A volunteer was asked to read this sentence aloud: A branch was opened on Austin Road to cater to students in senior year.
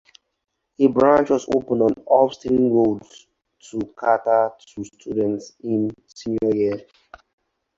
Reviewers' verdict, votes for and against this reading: rejected, 0, 4